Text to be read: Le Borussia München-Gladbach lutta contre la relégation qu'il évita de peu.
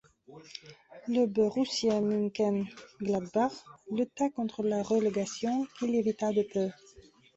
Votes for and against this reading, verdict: 0, 2, rejected